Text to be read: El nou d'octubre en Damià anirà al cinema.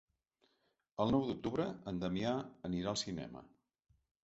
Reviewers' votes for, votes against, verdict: 3, 0, accepted